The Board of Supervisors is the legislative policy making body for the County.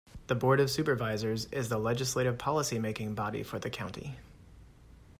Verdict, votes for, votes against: accepted, 2, 0